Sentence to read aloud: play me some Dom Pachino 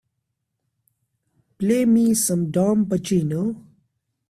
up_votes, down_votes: 3, 1